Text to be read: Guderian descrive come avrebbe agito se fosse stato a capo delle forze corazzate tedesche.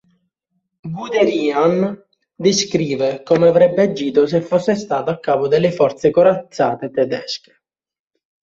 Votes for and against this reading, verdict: 1, 3, rejected